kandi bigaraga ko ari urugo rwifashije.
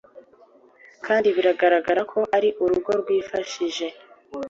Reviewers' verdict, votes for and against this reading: accepted, 2, 0